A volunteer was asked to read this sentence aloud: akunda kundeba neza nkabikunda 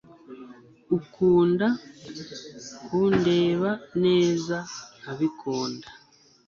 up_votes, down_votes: 1, 2